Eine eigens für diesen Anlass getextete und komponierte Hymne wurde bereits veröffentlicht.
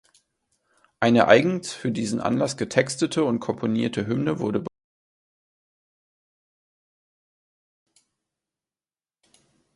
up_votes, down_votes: 0, 2